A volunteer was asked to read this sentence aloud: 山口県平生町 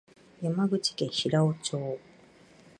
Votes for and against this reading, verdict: 2, 0, accepted